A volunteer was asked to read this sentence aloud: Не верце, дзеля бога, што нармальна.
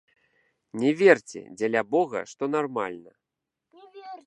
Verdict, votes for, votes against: accepted, 2, 0